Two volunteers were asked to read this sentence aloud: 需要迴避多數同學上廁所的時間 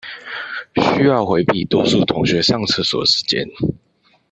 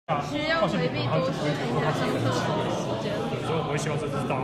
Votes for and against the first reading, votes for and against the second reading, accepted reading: 2, 1, 1, 2, first